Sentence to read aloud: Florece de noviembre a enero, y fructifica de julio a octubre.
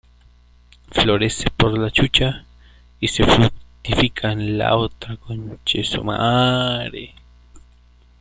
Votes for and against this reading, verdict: 0, 2, rejected